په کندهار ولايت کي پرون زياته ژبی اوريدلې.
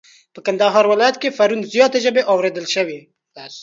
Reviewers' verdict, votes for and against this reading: rejected, 1, 2